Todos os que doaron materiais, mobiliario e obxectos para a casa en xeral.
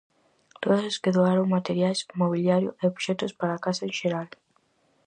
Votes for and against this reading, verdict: 4, 0, accepted